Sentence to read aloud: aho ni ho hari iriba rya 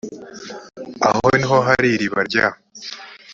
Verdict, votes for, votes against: accepted, 3, 0